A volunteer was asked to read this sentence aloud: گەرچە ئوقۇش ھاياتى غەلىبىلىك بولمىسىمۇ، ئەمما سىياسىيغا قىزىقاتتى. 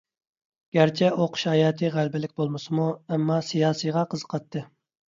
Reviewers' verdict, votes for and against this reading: accepted, 2, 0